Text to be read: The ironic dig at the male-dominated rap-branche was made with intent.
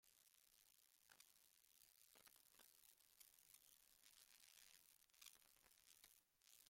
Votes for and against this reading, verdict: 0, 2, rejected